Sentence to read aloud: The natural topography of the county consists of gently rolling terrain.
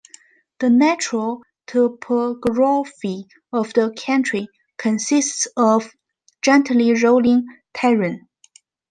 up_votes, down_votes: 1, 2